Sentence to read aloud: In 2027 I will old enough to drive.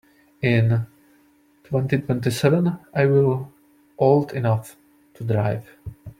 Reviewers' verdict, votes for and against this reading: rejected, 0, 2